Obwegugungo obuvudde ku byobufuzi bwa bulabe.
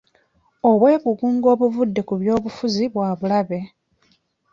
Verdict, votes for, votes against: accepted, 3, 0